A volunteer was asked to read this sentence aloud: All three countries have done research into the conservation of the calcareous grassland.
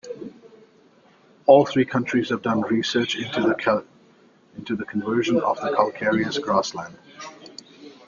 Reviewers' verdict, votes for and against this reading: rejected, 0, 2